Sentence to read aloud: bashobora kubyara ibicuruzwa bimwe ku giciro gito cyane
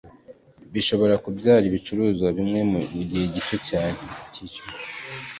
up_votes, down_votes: 1, 2